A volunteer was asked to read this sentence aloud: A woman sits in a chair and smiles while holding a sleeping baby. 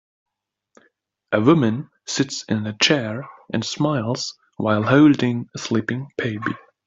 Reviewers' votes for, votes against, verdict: 3, 0, accepted